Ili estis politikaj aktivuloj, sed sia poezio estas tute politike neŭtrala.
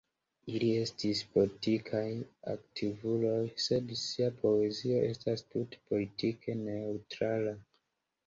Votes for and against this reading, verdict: 2, 0, accepted